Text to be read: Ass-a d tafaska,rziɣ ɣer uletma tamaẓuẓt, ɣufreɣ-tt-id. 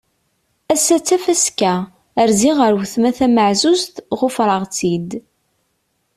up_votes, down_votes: 2, 0